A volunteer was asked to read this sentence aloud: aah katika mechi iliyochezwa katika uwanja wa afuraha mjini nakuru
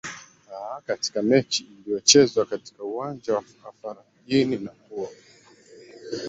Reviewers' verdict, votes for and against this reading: rejected, 2, 3